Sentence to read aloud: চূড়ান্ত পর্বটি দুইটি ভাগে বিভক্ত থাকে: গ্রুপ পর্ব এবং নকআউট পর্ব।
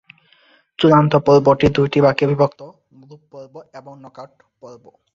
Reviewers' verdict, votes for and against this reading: rejected, 1, 2